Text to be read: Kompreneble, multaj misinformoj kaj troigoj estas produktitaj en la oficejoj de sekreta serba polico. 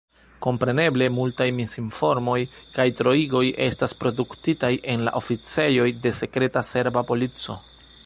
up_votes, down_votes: 1, 2